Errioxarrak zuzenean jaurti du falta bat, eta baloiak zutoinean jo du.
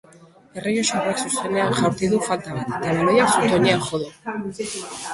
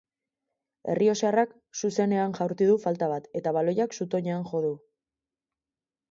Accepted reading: second